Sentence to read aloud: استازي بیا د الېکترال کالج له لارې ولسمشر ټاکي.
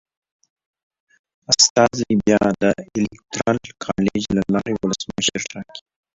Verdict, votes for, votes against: rejected, 0, 2